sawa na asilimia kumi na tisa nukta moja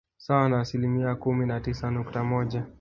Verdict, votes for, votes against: accepted, 2, 1